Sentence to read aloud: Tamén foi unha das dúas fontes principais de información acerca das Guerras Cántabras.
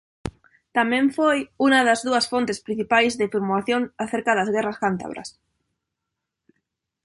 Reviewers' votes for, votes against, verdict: 0, 2, rejected